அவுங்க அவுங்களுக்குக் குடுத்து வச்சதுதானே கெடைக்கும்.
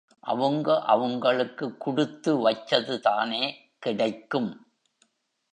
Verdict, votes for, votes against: accepted, 2, 0